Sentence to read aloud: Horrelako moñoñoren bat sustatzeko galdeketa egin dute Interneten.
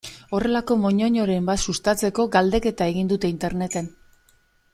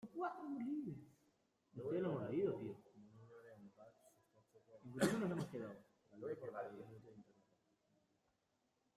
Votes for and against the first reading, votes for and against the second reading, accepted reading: 2, 0, 0, 2, first